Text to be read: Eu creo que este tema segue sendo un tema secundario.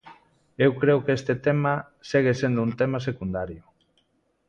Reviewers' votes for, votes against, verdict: 2, 0, accepted